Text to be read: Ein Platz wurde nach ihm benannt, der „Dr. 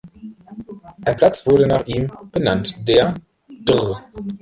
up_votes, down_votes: 1, 3